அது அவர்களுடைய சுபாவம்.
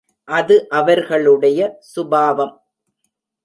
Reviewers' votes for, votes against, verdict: 2, 0, accepted